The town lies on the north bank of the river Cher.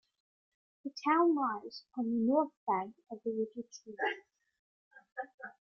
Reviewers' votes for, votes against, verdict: 1, 2, rejected